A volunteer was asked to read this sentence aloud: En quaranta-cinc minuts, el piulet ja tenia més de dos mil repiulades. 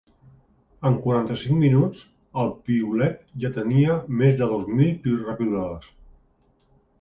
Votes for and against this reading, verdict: 1, 2, rejected